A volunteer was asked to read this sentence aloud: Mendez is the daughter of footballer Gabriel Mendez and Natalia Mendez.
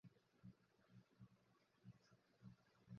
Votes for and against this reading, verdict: 0, 4, rejected